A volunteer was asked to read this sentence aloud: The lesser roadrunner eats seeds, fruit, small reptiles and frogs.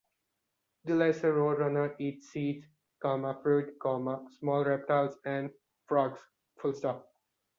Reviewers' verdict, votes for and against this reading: rejected, 0, 2